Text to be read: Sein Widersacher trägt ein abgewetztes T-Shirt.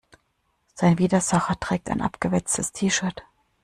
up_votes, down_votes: 2, 0